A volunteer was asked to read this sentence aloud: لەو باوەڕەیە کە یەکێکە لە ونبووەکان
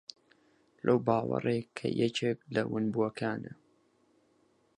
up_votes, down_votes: 0, 4